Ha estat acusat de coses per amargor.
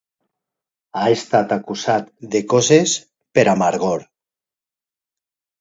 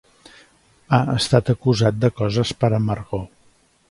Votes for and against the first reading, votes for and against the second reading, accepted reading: 3, 3, 2, 0, second